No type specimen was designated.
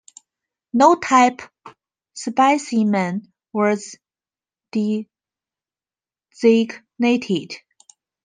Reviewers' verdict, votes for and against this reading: rejected, 0, 2